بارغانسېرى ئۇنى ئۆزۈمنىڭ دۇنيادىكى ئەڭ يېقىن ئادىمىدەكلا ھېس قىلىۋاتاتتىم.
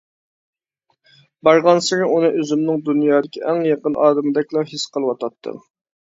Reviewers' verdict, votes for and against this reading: accepted, 2, 1